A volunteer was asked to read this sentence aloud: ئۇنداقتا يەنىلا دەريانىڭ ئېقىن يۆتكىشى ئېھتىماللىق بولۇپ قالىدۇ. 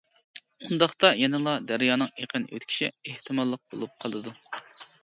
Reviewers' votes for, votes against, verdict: 1, 2, rejected